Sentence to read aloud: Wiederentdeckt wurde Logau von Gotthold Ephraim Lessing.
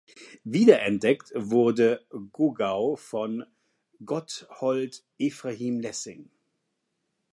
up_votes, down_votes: 0, 2